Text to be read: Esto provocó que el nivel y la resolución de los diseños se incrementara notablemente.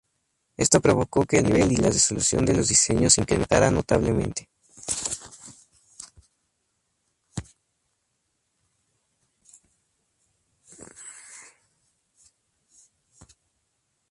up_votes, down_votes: 2, 2